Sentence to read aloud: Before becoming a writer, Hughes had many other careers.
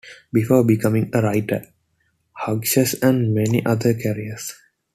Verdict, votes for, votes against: rejected, 1, 2